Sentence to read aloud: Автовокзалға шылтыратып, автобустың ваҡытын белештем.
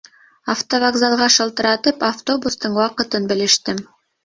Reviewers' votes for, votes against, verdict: 2, 0, accepted